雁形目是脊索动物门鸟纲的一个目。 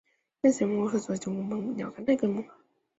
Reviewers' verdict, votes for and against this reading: rejected, 2, 4